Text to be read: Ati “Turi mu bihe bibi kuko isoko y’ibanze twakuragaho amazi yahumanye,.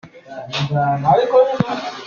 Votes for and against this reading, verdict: 0, 2, rejected